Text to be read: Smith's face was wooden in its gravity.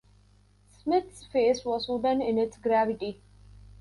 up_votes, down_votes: 2, 0